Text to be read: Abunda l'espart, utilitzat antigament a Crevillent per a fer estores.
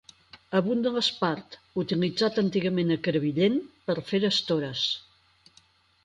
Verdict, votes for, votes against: rejected, 2, 4